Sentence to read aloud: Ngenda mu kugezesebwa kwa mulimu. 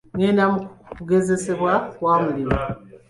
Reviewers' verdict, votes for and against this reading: rejected, 0, 2